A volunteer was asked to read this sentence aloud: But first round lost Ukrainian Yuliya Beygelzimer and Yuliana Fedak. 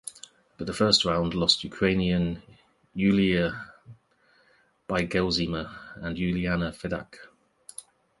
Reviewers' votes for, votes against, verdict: 1, 2, rejected